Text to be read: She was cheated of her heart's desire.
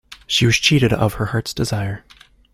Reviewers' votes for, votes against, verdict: 2, 0, accepted